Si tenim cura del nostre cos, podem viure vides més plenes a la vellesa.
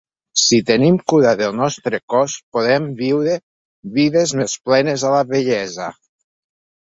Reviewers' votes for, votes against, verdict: 2, 1, accepted